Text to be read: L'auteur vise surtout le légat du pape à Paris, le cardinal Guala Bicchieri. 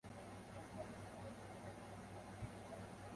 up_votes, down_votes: 0, 2